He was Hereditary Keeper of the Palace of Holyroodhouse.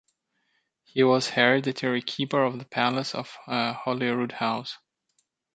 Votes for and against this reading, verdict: 1, 2, rejected